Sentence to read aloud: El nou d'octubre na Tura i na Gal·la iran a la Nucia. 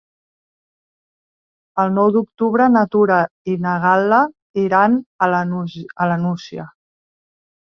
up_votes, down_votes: 0, 2